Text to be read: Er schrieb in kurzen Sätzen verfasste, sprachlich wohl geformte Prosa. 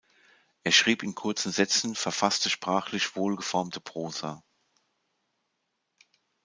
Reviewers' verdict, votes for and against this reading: accepted, 2, 0